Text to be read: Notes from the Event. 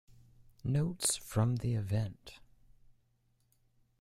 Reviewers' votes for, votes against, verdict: 2, 1, accepted